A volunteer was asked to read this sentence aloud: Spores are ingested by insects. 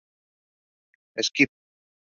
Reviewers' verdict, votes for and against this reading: rejected, 0, 2